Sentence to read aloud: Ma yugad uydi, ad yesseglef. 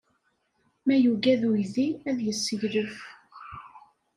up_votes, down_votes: 2, 0